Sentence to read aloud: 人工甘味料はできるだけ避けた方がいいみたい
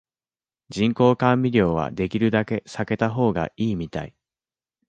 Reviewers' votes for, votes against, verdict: 2, 1, accepted